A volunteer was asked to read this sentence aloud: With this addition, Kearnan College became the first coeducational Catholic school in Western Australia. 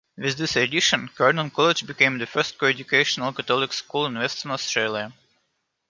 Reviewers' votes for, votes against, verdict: 2, 1, accepted